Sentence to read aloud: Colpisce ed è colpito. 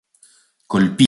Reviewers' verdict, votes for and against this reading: rejected, 0, 2